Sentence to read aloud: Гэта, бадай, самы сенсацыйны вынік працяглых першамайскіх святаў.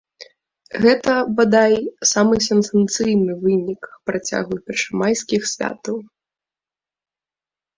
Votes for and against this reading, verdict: 0, 2, rejected